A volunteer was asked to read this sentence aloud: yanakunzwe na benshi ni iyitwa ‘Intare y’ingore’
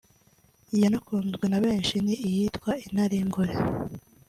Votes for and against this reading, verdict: 2, 0, accepted